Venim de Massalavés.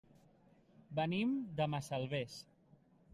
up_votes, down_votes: 0, 2